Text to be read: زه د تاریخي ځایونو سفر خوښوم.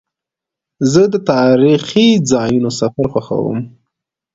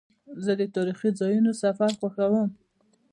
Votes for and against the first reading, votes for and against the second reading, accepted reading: 2, 0, 1, 2, first